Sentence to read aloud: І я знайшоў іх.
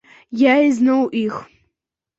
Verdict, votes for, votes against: rejected, 0, 2